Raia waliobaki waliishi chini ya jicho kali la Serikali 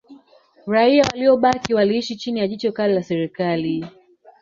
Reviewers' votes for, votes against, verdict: 7, 0, accepted